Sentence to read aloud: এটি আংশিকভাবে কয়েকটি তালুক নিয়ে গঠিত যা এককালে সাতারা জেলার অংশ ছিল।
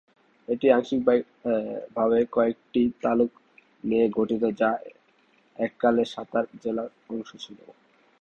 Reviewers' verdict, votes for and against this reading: rejected, 0, 2